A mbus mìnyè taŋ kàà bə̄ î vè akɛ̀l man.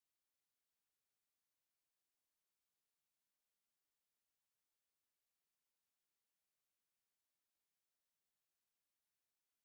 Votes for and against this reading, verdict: 0, 2, rejected